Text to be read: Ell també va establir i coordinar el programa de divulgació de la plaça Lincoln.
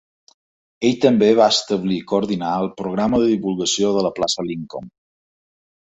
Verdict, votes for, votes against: accepted, 2, 0